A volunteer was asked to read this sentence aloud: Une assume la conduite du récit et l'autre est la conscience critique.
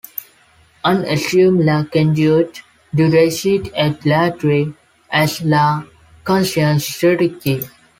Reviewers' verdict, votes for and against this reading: rejected, 1, 2